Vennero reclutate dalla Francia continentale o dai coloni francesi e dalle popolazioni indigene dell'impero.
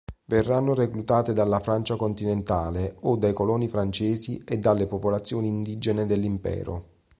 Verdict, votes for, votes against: rejected, 3, 4